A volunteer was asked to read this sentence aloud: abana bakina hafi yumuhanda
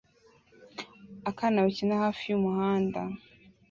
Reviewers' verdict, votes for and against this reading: rejected, 1, 2